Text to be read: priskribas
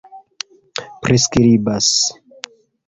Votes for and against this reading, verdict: 2, 1, accepted